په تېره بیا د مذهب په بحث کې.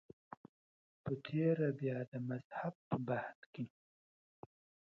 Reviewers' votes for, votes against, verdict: 0, 2, rejected